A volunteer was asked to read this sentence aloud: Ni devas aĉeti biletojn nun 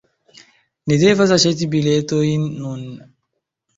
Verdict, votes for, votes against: accepted, 2, 1